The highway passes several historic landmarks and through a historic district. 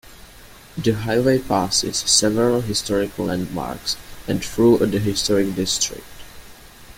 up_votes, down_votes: 1, 2